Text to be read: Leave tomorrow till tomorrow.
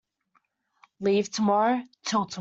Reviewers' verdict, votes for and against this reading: rejected, 0, 2